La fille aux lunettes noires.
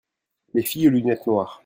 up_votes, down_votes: 1, 2